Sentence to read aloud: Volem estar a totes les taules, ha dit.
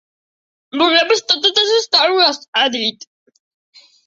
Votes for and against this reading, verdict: 1, 2, rejected